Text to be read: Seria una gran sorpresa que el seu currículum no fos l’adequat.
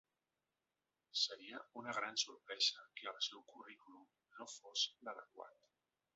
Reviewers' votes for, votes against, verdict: 0, 2, rejected